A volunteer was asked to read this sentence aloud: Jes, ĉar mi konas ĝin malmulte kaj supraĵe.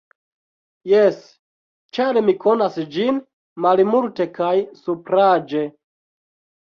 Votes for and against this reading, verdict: 0, 2, rejected